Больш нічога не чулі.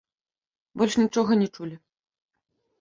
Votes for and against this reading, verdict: 2, 1, accepted